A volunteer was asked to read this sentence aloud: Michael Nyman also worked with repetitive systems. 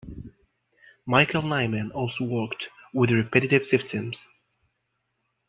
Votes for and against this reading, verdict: 2, 0, accepted